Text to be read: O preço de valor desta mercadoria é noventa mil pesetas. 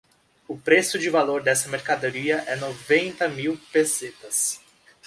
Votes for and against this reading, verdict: 2, 0, accepted